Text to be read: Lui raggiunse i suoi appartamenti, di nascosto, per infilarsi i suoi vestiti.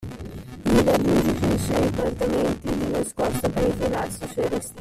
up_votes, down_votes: 0, 2